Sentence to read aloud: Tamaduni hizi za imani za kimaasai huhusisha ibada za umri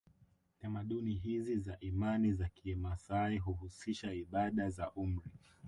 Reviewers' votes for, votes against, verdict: 2, 0, accepted